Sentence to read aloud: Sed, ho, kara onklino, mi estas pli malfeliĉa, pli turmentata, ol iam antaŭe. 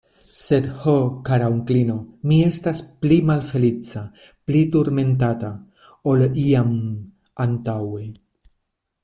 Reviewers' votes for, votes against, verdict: 2, 1, accepted